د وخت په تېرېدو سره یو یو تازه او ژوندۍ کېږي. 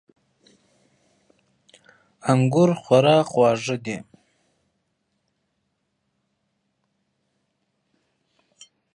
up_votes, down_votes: 1, 2